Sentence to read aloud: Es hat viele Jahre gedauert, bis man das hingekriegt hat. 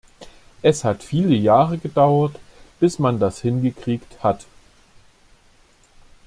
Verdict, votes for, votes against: accepted, 2, 0